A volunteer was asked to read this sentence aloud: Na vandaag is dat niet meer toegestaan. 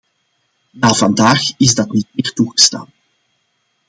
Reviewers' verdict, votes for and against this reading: accepted, 2, 0